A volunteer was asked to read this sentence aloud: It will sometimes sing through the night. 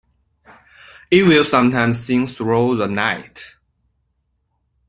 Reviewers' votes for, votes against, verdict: 0, 2, rejected